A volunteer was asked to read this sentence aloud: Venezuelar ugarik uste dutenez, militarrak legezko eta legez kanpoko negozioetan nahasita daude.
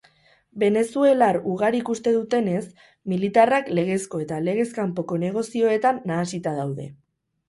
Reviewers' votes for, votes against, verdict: 2, 2, rejected